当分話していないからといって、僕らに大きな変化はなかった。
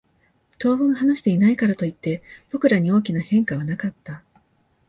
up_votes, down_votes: 2, 0